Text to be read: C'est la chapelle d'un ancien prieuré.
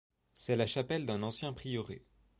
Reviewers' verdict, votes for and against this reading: accepted, 2, 0